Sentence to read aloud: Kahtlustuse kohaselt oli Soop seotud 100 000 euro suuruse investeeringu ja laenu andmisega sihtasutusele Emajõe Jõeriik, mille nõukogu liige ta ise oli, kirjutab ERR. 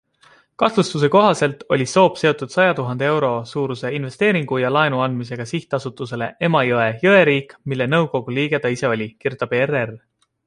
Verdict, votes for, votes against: rejected, 0, 2